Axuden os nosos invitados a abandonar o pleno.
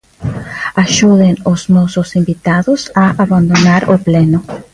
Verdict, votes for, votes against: accepted, 2, 0